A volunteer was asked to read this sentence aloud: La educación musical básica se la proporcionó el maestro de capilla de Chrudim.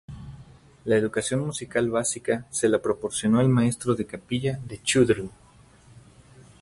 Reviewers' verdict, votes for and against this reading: rejected, 2, 2